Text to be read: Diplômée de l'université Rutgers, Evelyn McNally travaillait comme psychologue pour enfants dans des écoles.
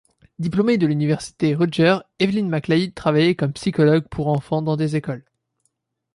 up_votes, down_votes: 2, 1